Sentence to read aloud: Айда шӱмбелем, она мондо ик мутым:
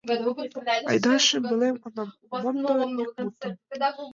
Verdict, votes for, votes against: rejected, 1, 2